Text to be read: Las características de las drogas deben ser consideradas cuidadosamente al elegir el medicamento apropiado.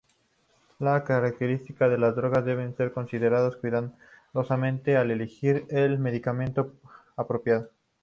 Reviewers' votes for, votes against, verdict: 0, 2, rejected